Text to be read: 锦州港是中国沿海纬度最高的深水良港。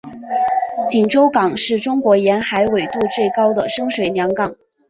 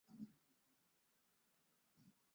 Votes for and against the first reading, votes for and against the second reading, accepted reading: 2, 1, 0, 4, first